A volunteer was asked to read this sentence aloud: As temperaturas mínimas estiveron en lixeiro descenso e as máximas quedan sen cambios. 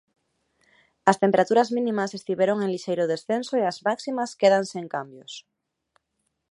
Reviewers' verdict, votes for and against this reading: accepted, 3, 0